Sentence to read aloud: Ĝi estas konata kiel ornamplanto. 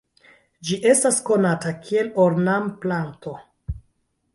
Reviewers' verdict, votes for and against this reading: rejected, 0, 2